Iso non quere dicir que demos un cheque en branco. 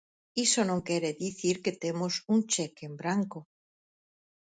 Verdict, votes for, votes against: rejected, 0, 4